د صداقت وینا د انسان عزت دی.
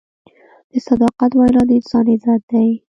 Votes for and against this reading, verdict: 1, 2, rejected